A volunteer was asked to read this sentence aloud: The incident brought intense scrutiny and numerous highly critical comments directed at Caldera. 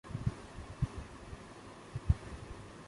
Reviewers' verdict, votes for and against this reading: rejected, 0, 2